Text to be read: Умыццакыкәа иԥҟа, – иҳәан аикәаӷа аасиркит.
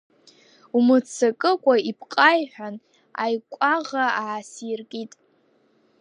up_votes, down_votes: 1, 2